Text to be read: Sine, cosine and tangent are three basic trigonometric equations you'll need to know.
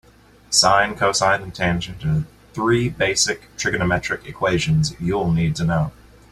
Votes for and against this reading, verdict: 0, 2, rejected